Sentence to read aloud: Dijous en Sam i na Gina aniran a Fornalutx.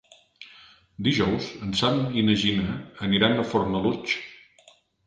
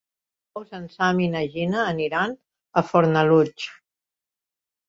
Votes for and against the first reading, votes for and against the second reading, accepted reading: 4, 0, 0, 2, first